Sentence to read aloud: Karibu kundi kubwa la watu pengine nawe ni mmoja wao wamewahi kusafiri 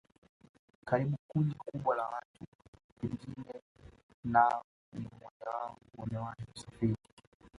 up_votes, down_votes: 1, 2